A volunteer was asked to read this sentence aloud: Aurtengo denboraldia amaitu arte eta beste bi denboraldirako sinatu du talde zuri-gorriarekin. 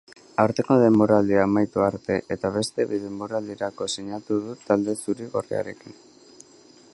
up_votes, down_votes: 2, 0